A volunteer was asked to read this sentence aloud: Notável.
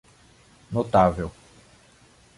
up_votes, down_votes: 2, 0